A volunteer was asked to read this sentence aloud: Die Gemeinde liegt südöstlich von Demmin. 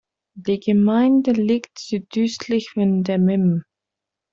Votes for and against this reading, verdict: 2, 0, accepted